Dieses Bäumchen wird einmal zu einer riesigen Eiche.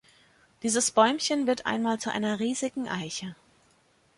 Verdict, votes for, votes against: accepted, 3, 0